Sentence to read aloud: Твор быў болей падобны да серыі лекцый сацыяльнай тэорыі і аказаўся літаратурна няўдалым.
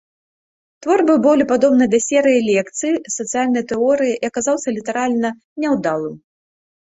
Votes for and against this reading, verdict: 1, 2, rejected